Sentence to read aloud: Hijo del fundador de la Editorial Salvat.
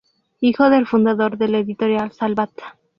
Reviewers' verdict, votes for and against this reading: rejected, 0, 2